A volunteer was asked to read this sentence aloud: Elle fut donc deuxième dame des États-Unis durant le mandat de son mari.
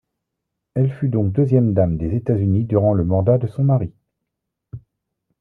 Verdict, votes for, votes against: rejected, 1, 2